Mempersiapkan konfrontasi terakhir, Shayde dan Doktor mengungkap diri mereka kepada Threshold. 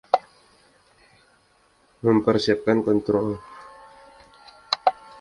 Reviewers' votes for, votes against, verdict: 0, 2, rejected